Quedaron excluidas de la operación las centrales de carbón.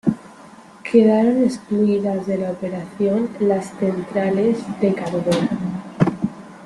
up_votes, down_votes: 2, 1